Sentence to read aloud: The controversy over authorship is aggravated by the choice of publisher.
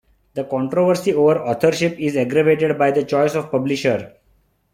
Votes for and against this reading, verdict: 2, 1, accepted